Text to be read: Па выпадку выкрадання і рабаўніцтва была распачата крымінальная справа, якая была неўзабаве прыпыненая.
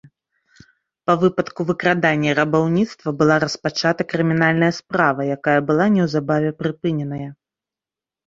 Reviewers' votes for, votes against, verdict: 2, 0, accepted